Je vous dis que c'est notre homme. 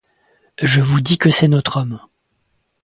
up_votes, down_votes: 2, 0